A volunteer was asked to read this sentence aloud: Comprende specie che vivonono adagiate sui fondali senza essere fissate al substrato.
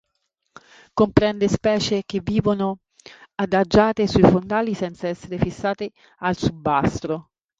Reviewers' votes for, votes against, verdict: 1, 3, rejected